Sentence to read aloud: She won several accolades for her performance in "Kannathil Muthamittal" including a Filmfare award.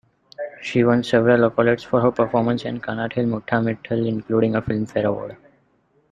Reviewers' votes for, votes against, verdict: 1, 2, rejected